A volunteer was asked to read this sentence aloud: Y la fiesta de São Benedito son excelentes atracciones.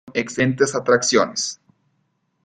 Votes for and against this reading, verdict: 0, 2, rejected